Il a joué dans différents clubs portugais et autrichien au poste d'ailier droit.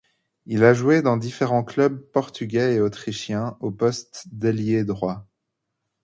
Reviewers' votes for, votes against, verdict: 2, 0, accepted